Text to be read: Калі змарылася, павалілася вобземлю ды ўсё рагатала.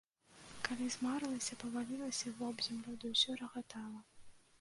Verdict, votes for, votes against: rejected, 0, 2